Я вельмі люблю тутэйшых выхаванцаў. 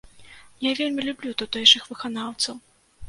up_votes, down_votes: 0, 2